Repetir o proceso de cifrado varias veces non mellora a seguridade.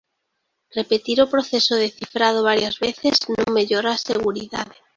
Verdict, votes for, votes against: rejected, 0, 2